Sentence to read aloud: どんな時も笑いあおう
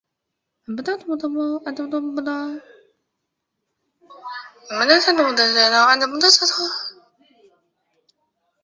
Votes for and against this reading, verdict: 0, 2, rejected